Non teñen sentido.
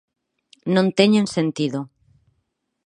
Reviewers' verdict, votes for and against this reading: accepted, 4, 0